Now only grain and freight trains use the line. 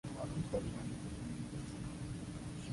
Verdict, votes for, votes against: rejected, 0, 2